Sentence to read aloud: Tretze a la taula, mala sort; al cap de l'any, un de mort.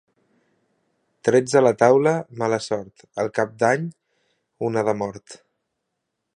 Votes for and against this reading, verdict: 0, 2, rejected